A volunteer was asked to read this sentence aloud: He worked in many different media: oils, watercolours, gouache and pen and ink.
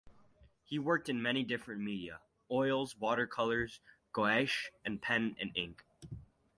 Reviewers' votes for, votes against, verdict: 4, 0, accepted